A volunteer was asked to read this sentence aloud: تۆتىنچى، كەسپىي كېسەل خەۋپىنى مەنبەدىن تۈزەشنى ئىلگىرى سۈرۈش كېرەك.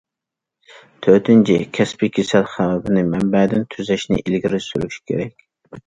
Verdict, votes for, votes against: accepted, 2, 0